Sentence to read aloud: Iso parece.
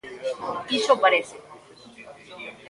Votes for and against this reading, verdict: 0, 2, rejected